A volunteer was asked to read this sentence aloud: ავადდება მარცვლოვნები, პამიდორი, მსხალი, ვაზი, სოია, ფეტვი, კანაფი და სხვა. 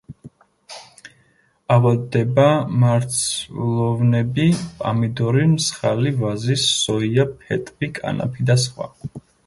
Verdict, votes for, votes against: rejected, 1, 2